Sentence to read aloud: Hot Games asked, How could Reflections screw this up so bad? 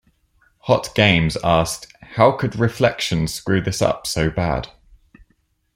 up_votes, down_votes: 2, 0